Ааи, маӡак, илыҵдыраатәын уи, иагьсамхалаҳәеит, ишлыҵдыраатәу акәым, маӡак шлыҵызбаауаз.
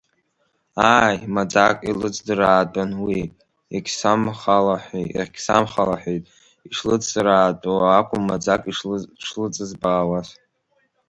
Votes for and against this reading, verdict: 0, 2, rejected